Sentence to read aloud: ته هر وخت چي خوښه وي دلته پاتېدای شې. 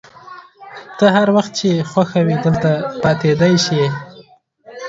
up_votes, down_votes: 2, 0